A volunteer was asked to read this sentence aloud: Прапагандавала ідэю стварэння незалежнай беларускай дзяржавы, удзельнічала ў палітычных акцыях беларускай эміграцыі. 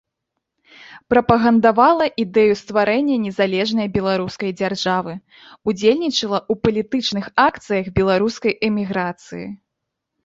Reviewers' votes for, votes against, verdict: 2, 0, accepted